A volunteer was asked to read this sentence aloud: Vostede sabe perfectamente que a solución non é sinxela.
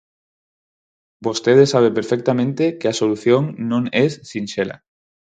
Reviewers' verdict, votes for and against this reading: accepted, 4, 0